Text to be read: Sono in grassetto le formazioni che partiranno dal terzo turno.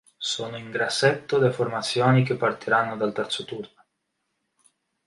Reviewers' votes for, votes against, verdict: 2, 0, accepted